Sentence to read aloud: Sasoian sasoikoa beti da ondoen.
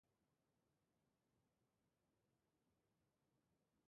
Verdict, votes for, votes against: rejected, 0, 4